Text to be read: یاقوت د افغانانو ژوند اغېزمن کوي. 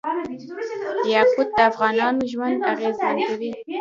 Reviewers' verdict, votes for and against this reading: rejected, 0, 2